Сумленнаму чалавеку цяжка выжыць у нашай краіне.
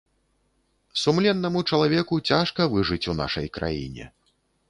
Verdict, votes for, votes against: accepted, 2, 0